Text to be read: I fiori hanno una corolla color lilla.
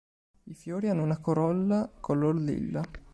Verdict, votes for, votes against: accepted, 2, 0